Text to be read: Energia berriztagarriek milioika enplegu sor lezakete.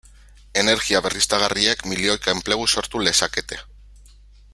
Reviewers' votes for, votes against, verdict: 0, 2, rejected